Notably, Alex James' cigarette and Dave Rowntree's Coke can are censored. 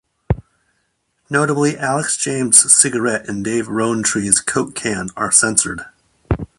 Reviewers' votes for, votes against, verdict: 2, 1, accepted